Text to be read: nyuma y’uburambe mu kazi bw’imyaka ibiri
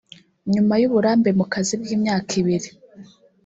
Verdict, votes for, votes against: accepted, 2, 0